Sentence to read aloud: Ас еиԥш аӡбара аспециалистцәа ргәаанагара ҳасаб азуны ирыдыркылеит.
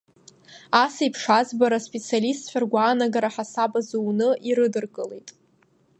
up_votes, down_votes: 1, 2